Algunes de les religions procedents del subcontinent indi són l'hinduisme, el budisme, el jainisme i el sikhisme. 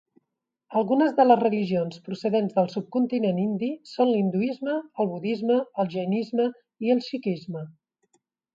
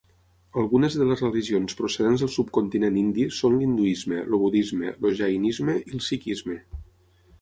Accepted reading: first